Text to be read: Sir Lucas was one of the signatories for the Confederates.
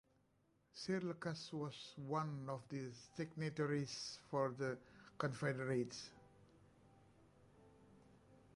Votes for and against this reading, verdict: 2, 0, accepted